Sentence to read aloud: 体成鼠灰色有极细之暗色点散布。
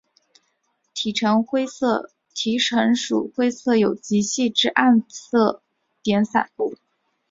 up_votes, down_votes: 0, 3